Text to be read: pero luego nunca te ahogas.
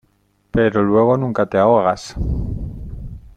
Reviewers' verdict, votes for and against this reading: accepted, 2, 0